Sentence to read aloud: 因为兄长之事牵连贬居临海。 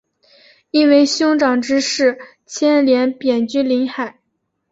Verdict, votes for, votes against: accepted, 2, 1